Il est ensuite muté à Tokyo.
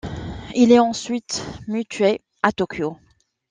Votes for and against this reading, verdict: 0, 2, rejected